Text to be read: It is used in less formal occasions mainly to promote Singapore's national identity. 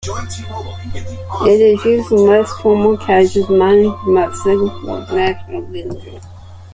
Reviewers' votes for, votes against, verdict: 0, 2, rejected